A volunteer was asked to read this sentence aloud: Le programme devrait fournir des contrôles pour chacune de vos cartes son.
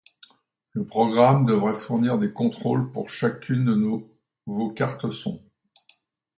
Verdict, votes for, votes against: rejected, 0, 2